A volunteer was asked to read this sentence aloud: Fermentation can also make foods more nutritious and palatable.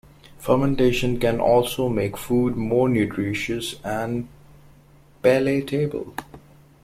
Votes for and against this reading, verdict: 1, 2, rejected